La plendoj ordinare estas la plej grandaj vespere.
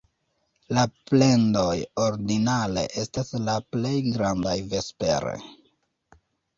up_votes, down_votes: 2, 0